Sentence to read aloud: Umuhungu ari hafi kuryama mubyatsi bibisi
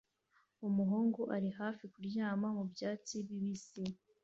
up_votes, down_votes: 2, 0